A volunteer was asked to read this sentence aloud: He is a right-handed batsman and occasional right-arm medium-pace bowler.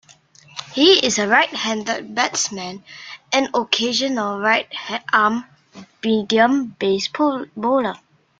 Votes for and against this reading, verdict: 0, 2, rejected